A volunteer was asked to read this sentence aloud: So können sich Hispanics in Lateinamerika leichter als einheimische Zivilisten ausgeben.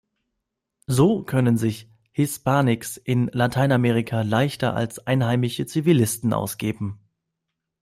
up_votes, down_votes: 0, 2